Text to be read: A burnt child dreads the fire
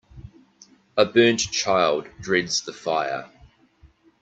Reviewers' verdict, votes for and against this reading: accepted, 2, 0